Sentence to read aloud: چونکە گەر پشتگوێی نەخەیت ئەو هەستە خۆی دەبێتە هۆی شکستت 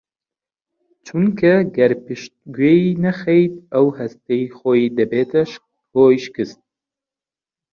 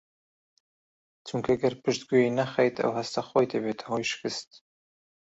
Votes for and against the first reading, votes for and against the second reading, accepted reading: 1, 2, 2, 1, second